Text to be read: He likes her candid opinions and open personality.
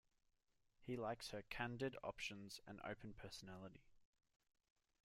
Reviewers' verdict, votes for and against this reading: rejected, 0, 2